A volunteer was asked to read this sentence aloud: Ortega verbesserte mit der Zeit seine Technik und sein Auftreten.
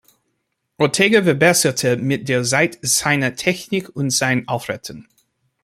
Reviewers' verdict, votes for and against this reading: accepted, 2, 1